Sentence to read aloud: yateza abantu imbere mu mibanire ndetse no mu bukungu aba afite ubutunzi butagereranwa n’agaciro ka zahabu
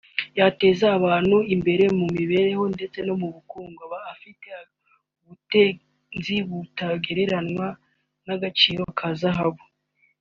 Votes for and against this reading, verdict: 1, 2, rejected